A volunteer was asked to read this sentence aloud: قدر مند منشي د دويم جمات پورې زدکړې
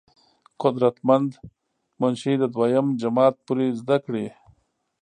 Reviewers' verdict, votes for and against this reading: rejected, 0, 2